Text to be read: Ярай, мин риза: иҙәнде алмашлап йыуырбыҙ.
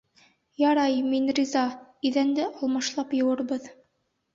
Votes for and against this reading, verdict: 1, 2, rejected